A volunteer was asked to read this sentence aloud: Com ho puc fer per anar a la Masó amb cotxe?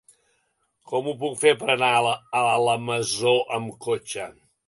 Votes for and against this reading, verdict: 0, 2, rejected